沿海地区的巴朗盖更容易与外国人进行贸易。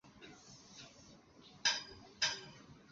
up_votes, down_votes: 0, 2